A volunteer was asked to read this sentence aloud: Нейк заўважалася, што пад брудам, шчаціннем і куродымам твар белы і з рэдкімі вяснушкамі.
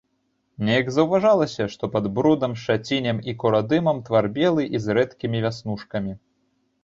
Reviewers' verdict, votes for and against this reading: rejected, 0, 2